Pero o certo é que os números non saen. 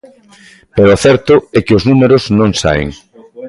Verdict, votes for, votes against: accepted, 2, 0